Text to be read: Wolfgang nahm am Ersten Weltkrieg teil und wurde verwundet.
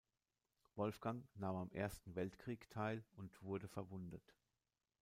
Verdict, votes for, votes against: accepted, 2, 0